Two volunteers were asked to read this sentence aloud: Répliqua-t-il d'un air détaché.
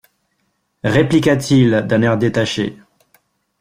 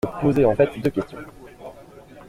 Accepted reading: first